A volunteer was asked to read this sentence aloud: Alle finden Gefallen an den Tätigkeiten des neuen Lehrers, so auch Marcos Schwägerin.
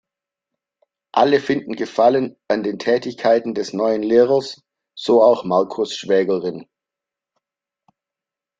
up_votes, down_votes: 2, 0